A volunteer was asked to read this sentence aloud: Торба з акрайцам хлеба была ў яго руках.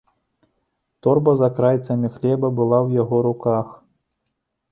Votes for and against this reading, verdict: 1, 2, rejected